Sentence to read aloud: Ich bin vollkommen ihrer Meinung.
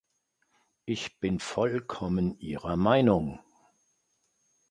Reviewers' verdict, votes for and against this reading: accepted, 2, 0